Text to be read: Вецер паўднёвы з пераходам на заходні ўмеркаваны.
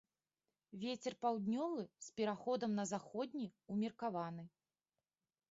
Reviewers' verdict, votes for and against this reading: accepted, 2, 0